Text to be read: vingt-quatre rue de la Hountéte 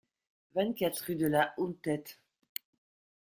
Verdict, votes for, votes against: accepted, 2, 0